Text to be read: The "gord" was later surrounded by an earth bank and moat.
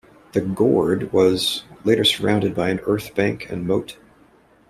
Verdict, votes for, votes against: accepted, 2, 0